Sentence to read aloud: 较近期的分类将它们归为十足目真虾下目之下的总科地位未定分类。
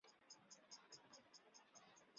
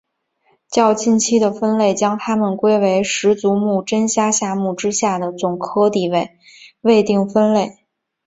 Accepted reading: second